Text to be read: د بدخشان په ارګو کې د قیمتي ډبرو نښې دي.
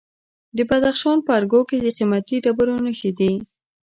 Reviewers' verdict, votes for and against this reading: accepted, 2, 0